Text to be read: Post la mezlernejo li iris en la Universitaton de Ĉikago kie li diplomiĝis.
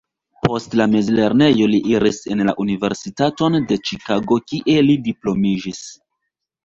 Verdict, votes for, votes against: accepted, 2, 0